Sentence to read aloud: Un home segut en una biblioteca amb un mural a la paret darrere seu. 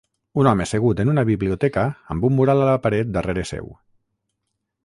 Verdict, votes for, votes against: accepted, 6, 0